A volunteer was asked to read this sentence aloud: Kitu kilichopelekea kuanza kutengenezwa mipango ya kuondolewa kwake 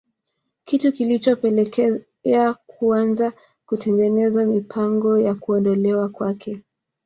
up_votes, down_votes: 1, 2